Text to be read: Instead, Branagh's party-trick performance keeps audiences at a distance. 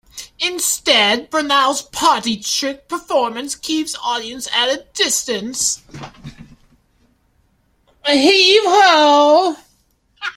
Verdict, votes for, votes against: rejected, 0, 2